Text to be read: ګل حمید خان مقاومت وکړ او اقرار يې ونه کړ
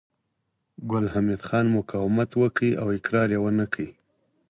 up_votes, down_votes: 4, 0